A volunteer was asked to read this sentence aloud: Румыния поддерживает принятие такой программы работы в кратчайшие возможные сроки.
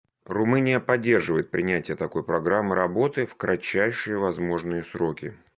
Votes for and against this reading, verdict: 2, 0, accepted